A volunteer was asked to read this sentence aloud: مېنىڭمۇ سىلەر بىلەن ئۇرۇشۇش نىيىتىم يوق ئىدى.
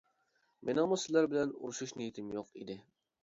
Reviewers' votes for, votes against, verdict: 2, 0, accepted